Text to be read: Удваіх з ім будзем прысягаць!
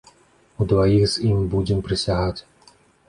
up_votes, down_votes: 2, 0